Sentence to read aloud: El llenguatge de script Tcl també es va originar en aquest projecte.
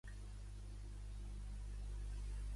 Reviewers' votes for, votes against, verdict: 0, 2, rejected